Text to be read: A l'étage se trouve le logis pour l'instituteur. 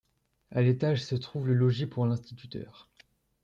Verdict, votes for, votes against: accepted, 2, 0